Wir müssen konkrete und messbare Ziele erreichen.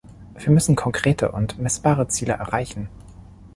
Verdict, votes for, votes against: accepted, 2, 0